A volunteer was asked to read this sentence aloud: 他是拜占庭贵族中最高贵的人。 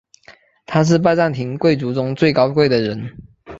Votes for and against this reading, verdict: 3, 0, accepted